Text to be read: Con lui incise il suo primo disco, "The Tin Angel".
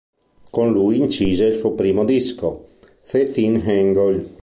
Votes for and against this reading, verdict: 1, 2, rejected